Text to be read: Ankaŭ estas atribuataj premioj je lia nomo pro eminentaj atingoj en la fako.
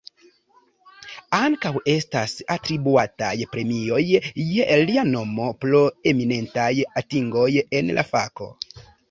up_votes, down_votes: 1, 2